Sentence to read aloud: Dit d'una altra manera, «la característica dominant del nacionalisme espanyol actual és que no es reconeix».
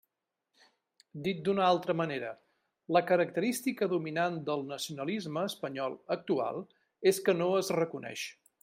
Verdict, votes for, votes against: accepted, 3, 0